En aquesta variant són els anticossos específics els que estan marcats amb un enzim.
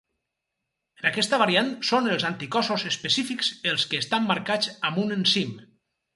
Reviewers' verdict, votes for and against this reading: rejected, 2, 2